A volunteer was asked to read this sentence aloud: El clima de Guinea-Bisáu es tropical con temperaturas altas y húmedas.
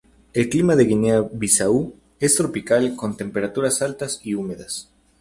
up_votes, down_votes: 2, 0